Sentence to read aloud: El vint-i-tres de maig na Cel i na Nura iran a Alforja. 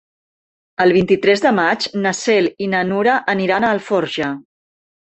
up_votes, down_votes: 2, 8